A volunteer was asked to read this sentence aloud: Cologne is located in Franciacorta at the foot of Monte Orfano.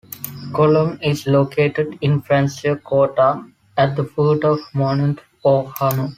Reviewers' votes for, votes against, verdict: 2, 1, accepted